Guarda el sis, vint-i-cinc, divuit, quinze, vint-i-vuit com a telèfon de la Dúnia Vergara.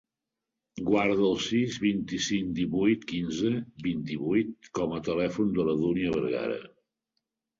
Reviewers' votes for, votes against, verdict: 4, 0, accepted